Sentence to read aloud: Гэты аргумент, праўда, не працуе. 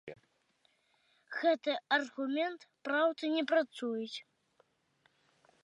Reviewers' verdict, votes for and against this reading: rejected, 0, 2